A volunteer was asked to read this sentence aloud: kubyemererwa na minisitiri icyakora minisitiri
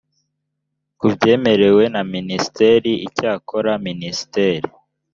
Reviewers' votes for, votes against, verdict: 1, 2, rejected